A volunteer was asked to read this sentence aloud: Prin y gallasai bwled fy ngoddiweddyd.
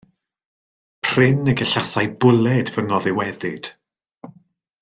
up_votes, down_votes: 1, 2